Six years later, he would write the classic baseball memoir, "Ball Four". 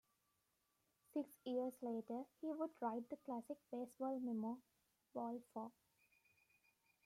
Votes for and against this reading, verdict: 2, 1, accepted